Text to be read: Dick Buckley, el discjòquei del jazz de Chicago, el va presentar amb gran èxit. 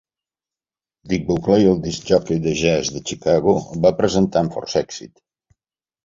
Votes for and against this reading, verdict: 1, 2, rejected